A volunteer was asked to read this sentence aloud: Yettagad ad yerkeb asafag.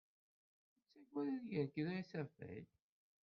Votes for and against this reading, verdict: 0, 2, rejected